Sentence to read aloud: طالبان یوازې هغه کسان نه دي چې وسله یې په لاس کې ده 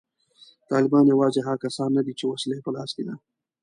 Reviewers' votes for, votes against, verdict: 2, 0, accepted